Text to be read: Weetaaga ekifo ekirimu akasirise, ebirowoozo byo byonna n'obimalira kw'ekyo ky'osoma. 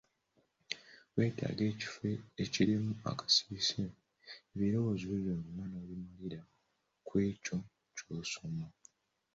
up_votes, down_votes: 2, 0